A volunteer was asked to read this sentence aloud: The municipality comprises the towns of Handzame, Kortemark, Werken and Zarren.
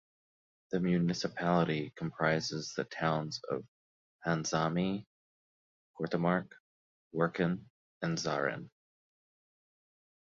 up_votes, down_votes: 0, 2